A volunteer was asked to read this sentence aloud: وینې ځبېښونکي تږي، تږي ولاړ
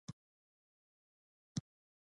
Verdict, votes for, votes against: rejected, 1, 2